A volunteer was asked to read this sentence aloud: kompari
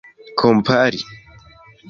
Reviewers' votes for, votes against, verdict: 2, 0, accepted